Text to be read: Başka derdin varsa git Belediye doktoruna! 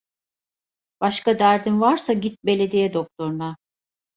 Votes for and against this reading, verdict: 2, 0, accepted